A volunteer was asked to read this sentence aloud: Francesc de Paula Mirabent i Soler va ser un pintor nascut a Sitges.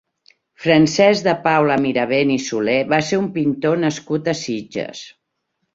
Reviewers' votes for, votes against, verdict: 2, 0, accepted